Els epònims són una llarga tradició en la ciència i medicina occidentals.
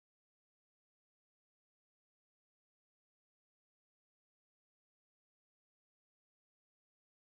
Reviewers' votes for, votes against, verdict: 0, 3, rejected